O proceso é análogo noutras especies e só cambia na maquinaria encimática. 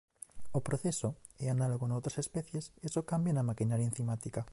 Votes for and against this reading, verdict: 0, 2, rejected